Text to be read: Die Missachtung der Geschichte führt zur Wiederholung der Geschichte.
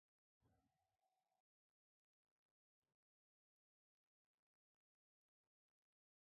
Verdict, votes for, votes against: rejected, 0, 2